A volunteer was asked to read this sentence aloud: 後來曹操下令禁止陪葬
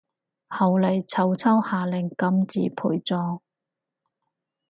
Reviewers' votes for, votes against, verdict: 2, 2, rejected